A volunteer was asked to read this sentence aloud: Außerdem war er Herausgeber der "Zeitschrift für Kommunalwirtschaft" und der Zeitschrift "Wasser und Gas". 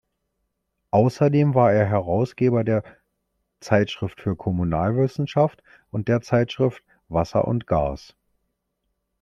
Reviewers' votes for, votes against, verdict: 1, 2, rejected